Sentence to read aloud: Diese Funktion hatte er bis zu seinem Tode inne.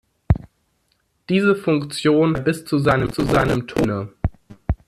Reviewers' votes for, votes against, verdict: 0, 2, rejected